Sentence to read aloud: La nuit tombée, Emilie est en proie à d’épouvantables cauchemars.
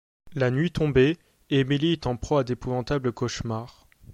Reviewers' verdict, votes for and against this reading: accepted, 2, 0